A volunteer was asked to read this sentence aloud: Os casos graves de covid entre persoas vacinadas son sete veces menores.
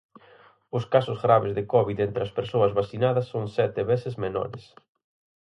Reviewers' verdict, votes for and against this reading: rejected, 0, 4